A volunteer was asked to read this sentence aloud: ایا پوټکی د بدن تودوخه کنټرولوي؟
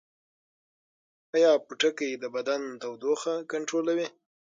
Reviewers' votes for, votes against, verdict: 3, 6, rejected